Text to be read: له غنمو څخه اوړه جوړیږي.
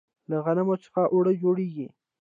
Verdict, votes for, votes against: rejected, 1, 2